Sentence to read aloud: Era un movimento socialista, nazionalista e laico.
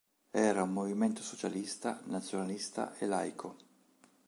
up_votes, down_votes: 3, 0